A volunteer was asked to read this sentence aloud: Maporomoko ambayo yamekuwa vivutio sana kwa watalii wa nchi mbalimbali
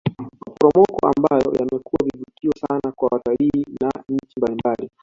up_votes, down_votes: 0, 2